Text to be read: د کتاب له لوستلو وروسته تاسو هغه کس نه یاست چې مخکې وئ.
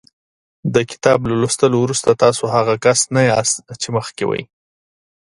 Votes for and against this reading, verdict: 2, 0, accepted